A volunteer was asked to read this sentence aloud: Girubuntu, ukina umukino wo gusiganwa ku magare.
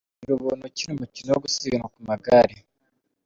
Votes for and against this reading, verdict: 2, 0, accepted